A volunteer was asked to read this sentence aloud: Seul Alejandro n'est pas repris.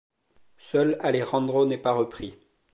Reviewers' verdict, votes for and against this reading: accepted, 2, 1